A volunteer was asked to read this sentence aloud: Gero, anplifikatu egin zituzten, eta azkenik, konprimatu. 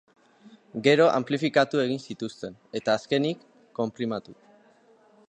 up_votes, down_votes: 2, 1